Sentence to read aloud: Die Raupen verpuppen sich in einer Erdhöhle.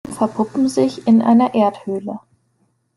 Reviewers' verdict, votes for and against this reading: rejected, 0, 2